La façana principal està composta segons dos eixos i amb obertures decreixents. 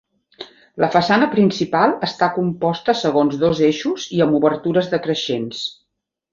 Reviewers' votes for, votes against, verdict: 2, 0, accepted